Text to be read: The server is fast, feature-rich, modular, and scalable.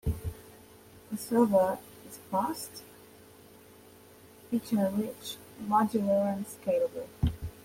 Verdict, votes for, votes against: accepted, 2, 0